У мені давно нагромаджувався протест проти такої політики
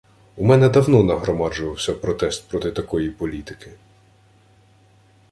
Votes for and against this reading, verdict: 1, 2, rejected